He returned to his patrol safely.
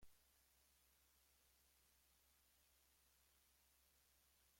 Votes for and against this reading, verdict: 1, 2, rejected